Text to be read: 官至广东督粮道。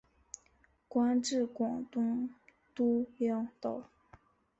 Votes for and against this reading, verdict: 4, 1, accepted